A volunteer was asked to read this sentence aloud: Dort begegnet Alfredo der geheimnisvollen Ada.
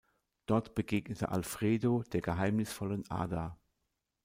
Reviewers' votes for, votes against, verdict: 1, 2, rejected